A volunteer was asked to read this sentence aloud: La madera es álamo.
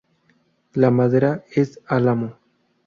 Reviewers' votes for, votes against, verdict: 0, 2, rejected